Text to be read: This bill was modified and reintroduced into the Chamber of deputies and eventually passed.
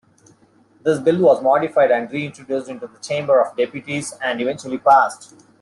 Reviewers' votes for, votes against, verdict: 2, 0, accepted